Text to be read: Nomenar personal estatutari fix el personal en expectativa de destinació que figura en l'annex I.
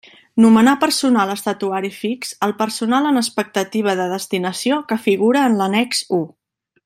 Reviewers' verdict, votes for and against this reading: rejected, 1, 2